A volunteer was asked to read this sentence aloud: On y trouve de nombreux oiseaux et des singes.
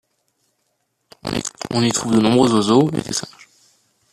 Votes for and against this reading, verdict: 0, 2, rejected